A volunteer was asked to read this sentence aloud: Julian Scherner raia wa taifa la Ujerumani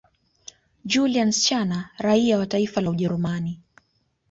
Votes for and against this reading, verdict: 2, 0, accepted